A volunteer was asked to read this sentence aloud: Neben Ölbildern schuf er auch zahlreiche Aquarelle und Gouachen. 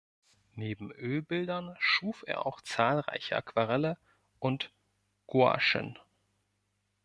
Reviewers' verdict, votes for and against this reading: rejected, 1, 2